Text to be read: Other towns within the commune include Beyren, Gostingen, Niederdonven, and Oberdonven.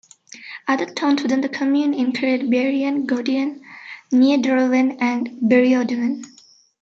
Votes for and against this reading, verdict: 1, 2, rejected